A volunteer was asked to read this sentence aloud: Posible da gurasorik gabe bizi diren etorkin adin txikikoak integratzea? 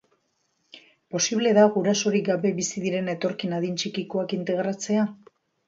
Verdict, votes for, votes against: rejected, 0, 2